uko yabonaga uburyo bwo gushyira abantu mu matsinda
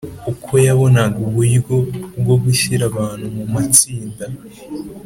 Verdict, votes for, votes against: accepted, 4, 0